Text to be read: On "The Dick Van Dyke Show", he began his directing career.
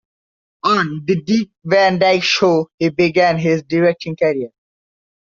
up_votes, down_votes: 1, 2